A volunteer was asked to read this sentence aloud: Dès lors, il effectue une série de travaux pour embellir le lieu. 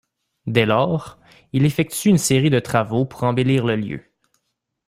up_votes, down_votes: 2, 1